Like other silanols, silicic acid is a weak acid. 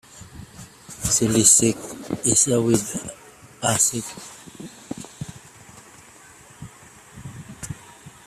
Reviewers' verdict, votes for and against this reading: rejected, 0, 2